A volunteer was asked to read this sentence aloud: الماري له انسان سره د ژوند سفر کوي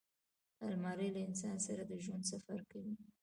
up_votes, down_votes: 2, 1